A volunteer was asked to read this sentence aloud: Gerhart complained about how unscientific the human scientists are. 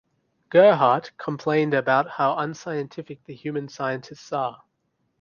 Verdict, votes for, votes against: accepted, 2, 0